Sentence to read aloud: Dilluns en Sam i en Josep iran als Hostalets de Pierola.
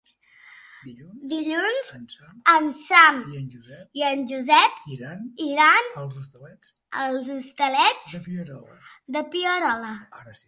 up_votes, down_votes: 1, 2